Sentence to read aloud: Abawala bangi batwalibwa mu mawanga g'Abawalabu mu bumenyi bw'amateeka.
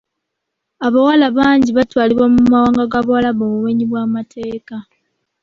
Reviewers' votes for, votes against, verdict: 2, 0, accepted